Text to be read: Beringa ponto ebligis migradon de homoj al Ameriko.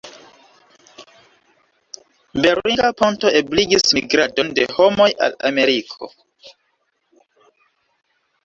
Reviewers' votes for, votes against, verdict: 1, 2, rejected